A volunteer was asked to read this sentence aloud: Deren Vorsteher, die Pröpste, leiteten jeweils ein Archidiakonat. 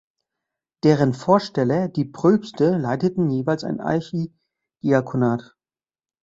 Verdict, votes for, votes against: rejected, 0, 2